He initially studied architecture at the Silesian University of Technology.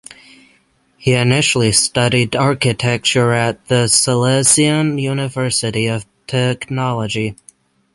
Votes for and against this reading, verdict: 0, 3, rejected